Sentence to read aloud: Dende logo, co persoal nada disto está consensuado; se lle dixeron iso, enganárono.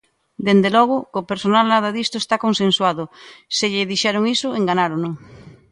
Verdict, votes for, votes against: rejected, 1, 2